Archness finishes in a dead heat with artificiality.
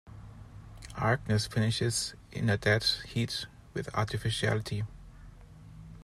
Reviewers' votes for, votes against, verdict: 1, 2, rejected